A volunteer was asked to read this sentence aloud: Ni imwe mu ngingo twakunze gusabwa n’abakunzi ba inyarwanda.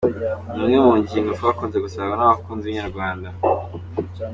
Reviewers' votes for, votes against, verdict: 2, 0, accepted